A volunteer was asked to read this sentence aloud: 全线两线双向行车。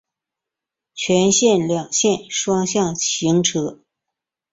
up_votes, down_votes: 5, 0